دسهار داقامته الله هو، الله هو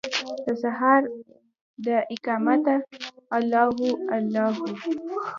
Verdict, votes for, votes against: accepted, 2, 0